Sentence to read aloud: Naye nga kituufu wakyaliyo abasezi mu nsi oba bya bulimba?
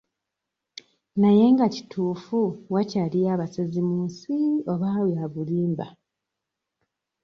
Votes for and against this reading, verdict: 2, 0, accepted